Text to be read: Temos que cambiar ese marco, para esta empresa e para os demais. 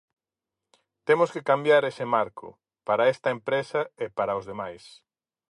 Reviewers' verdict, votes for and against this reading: accepted, 4, 0